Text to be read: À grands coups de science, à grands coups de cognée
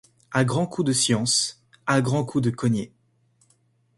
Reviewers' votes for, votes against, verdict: 2, 0, accepted